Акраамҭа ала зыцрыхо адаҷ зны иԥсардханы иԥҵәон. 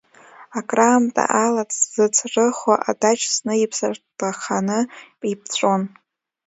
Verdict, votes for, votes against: rejected, 0, 2